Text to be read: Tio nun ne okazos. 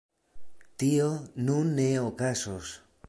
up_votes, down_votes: 2, 0